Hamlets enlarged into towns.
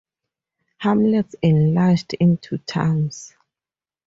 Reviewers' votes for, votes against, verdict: 0, 2, rejected